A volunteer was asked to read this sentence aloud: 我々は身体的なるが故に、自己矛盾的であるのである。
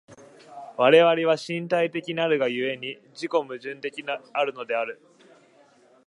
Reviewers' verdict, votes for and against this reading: rejected, 0, 2